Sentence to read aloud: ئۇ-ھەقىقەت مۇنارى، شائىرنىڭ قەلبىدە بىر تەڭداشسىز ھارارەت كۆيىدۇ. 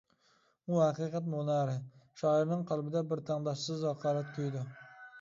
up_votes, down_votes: 0, 2